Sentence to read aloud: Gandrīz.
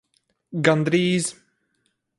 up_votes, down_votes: 4, 0